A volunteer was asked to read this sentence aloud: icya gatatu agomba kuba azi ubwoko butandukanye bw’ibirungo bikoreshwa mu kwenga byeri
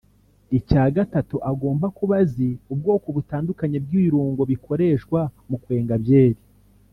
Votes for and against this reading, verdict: 1, 2, rejected